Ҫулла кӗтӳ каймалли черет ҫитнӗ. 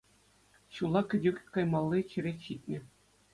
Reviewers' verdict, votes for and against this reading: accepted, 2, 0